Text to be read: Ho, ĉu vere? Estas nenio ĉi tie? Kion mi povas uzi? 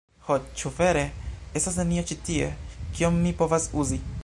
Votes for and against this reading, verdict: 2, 0, accepted